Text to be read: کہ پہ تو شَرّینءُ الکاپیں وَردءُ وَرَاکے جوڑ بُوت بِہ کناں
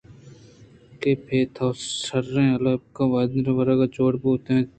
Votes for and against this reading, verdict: 1, 2, rejected